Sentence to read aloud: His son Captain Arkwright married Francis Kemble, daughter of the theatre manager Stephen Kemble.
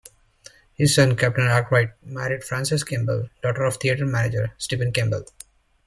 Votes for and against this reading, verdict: 1, 2, rejected